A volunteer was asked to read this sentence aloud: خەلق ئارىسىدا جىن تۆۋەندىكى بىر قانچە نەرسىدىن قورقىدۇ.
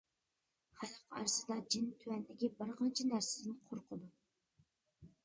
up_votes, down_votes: 0, 2